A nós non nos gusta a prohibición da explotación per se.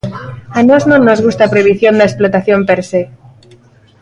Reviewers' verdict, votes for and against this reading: rejected, 0, 2